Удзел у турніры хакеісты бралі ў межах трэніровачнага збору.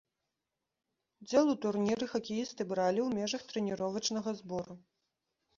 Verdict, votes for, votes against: rejected, 0, 2